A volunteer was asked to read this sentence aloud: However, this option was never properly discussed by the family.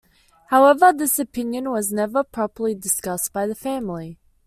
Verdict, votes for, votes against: accepted, 2, 0